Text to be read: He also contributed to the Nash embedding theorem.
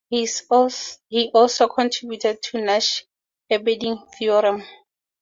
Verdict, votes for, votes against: rejected, 0, 4